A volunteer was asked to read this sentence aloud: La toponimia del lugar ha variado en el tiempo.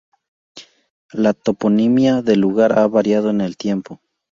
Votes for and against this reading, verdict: 2, 0, accepted